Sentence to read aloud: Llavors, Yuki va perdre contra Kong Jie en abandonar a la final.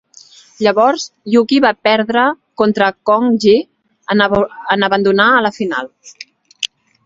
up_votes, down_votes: 4, 8